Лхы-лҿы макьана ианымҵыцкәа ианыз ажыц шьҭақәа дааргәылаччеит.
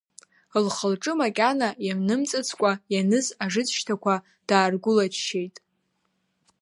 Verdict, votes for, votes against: rejected, 1, 2